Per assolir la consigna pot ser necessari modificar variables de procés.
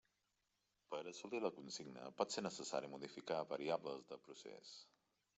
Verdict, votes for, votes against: accepted, 2, 0